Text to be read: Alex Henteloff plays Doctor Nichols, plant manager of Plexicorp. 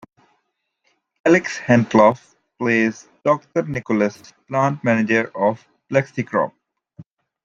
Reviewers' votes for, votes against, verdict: 2, 1, accepted